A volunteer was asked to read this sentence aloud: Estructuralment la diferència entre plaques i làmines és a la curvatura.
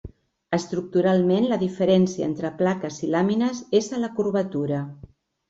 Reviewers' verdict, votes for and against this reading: accepted, 2, 0